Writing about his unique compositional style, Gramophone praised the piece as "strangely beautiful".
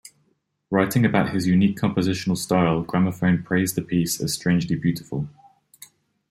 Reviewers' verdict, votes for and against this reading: accepted, 2, 0